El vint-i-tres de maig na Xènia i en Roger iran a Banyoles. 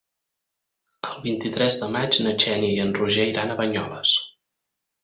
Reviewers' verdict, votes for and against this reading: accepted, 6, 0